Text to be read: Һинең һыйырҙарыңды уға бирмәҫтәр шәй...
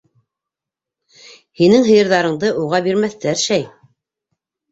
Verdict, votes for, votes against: accepted, 2, 0